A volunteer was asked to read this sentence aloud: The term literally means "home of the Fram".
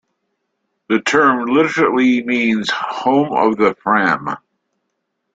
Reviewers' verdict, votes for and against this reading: accepted, 2, 0